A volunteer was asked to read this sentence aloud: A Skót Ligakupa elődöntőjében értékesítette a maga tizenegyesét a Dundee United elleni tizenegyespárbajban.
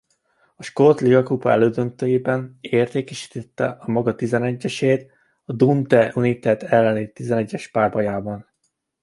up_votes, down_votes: 1, 2